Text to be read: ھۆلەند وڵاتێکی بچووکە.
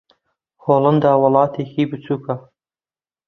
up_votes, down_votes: 0, 2